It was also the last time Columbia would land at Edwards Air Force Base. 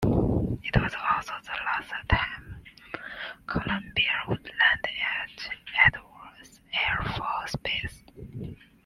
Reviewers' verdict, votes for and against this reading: rejected, 1, 2